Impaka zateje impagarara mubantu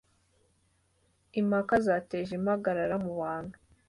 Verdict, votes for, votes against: accepted, 2, 0